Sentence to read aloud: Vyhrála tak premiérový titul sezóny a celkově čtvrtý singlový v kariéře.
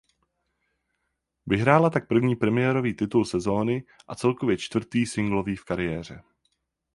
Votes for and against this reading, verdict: 0, 4, rejected